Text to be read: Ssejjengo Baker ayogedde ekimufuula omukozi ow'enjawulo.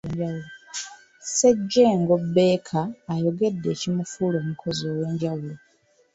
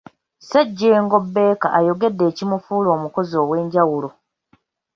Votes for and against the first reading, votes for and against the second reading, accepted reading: 2, 0, 1, 2, first